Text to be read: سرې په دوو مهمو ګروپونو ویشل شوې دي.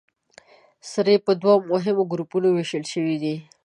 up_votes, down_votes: 2, 0